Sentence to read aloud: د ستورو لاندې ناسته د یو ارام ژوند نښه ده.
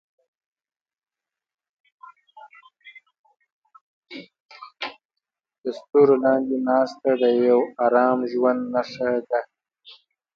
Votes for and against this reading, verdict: 1, 2, rejected